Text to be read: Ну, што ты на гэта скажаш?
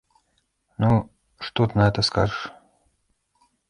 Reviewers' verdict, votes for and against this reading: rejected, 1, 2